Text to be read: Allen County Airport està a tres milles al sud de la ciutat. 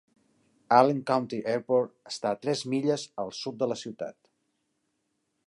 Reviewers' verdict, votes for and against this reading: accepted, 2, 0